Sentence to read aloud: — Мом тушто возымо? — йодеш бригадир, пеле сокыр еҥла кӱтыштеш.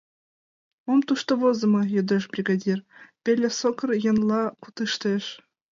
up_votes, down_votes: 1, 2